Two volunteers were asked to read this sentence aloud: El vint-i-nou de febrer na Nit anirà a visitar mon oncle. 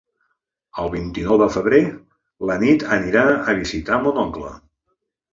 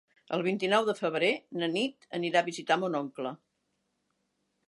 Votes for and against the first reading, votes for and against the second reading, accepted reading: 1, 2, 3, 0, second